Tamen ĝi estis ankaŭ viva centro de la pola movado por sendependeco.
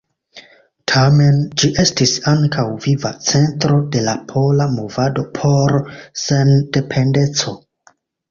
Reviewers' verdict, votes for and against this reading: accepted, 3, 1